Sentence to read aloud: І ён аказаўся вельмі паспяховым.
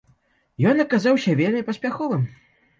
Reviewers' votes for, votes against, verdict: 1, 2, rejected